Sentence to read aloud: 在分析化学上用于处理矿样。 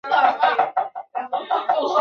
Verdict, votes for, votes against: rejected, 0, 2